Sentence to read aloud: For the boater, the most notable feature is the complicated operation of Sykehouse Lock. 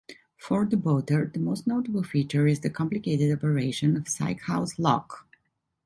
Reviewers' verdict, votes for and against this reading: accepted, 2, 0